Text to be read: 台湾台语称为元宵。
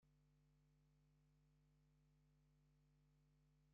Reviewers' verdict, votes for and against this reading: rejected, 0, 2